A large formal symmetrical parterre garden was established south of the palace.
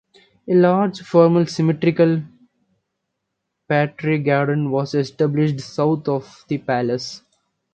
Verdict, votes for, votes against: rejected, 1, 2